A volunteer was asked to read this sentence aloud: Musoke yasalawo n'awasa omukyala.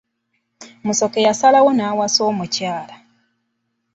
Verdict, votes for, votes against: accepted, 2, 0